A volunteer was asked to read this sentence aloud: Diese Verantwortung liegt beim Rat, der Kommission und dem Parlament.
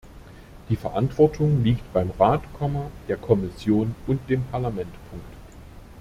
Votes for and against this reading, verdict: 0, 2, rejected